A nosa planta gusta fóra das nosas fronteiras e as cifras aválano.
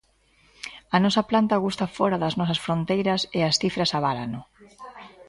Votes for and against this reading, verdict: 2, 0, accepted